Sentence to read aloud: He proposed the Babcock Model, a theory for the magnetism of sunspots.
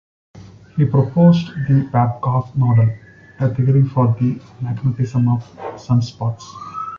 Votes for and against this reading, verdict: 2, 1, accepted